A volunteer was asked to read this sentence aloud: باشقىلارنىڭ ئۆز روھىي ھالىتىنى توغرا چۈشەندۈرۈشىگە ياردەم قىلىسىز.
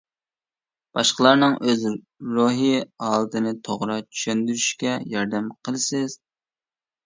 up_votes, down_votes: 0, 2